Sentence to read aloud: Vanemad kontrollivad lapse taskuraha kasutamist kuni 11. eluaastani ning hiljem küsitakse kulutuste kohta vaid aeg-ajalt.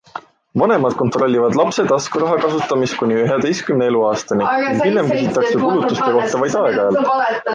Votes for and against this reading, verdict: 0, 2, rejected